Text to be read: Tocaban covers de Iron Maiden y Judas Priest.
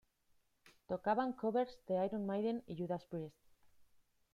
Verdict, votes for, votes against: rejected, 1, 2